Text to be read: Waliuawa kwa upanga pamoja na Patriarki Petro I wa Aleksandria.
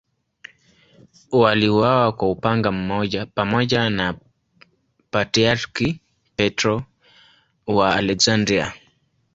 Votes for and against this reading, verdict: 0, 2, rejected